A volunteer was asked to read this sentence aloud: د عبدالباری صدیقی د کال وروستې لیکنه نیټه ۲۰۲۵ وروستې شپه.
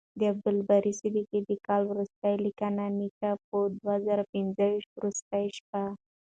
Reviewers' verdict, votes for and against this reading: rejected, 0, 2